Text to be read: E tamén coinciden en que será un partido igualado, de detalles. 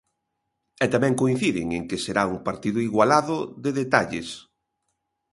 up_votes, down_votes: 2, 0